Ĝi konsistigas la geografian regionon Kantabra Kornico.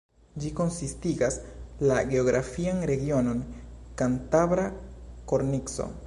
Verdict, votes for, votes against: rejected, 0, 2